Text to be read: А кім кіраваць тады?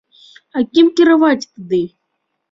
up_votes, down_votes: 2, 1